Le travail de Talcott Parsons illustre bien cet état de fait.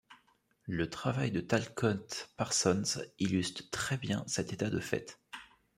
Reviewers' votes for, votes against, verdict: 1, 2, rejected